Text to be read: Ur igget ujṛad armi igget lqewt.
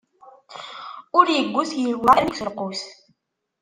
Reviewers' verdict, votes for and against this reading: rejected, 0, 2